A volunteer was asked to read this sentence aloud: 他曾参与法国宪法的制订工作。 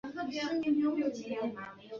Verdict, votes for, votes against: rejected, 1, 4